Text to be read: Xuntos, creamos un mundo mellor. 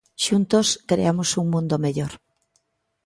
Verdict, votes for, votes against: accepted, 2, 0